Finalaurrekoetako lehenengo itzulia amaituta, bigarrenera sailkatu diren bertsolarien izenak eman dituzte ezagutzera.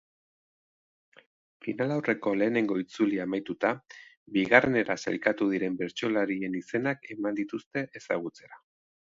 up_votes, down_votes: 2, 1